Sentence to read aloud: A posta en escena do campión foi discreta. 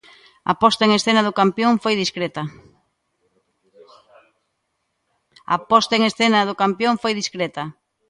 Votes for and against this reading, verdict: 1, 2, rejected